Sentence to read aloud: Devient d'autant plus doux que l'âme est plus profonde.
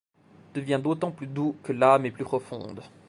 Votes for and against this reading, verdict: 2, 0, accepted